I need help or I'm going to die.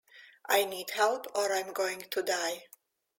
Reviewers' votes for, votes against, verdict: 2, 0, accepted